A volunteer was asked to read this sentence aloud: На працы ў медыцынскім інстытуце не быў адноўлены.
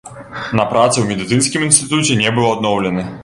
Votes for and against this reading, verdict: 2, 0, accepted